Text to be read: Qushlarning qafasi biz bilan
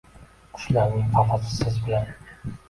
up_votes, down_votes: 1, 2